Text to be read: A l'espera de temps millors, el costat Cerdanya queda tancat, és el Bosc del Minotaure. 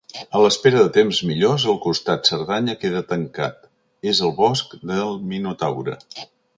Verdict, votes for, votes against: accepted, 2, 0